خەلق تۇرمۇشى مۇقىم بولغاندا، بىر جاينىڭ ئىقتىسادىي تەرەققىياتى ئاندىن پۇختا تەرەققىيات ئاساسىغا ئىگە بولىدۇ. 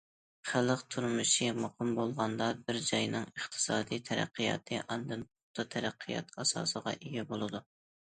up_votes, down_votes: 2, 0